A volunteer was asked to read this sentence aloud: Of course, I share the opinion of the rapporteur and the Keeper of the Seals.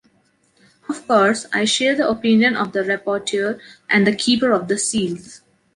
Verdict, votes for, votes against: accepted, 2, 0